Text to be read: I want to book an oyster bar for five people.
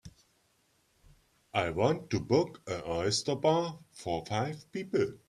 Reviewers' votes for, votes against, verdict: 2, 0, accepted